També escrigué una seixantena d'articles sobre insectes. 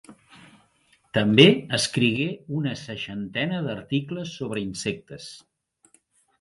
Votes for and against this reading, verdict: 3, 0, accepted